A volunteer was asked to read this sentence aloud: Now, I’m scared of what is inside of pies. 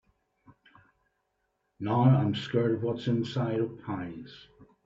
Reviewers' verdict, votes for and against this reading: rejected, 1, 2